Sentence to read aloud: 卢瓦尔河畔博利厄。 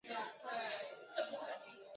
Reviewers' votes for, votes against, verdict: 0, 4, rejected